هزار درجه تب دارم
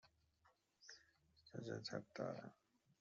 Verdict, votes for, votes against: rejected, 0, 2